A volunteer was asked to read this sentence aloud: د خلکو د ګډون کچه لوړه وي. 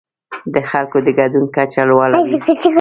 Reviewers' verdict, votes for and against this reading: accepted, 2, 0